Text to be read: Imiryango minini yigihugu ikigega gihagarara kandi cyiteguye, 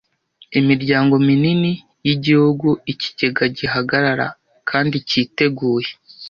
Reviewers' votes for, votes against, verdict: 2, 0, accepted